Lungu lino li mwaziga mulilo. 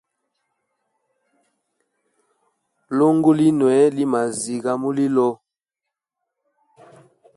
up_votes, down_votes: 2, 0